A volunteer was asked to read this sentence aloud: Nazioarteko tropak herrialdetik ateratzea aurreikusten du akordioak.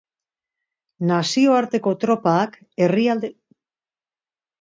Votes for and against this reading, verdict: 0, 3, rejected